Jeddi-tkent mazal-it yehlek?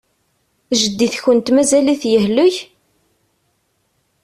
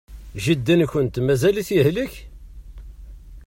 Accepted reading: first